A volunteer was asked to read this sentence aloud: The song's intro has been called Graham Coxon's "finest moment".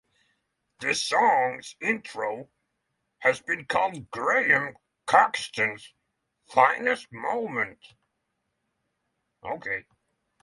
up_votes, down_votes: 3, 3